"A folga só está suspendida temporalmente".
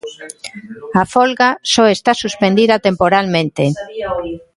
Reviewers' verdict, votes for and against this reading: rejected, 1, 2